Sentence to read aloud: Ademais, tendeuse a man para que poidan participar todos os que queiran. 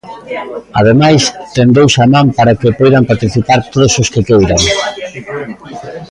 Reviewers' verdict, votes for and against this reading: rejected, 0, 2